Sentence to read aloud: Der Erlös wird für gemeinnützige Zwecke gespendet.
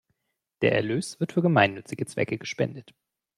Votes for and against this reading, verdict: 2, 0, accepted